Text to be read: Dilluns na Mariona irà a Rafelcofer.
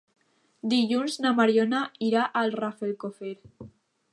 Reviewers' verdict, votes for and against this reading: accepted, 2, 0